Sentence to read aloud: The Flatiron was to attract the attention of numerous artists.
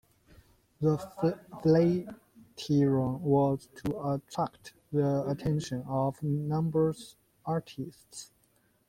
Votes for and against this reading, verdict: 0, 2, rejected